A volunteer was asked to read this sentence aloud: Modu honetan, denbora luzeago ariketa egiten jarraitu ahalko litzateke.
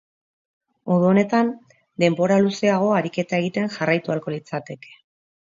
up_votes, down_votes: 3, 0